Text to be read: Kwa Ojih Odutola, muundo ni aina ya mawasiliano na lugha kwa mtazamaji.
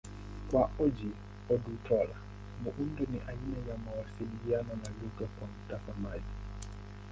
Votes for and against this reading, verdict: 9, 11, rejected